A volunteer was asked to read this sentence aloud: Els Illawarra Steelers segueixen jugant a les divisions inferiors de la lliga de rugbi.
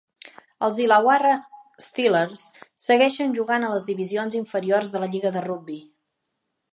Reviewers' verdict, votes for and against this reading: accepted, 3, 0